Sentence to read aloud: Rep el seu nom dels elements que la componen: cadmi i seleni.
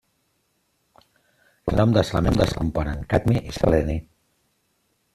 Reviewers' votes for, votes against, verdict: 0, 2, rejected